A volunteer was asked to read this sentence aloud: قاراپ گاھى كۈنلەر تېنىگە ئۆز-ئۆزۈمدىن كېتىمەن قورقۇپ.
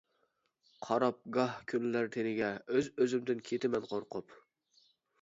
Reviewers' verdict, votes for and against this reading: rejected, 0, 2